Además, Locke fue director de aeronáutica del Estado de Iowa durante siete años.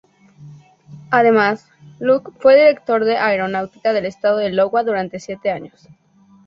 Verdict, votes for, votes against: rejected, 0, 2